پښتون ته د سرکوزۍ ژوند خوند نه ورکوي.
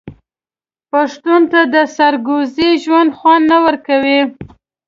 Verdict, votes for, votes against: rejected, 1, 2